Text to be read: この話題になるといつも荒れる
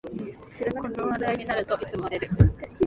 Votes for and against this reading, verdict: 1, 2, rejected